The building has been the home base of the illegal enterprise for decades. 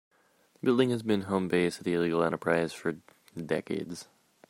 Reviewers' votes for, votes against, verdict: 1, 2, rejected